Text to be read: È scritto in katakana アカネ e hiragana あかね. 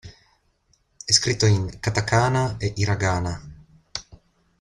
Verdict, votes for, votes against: rejected, 0, 2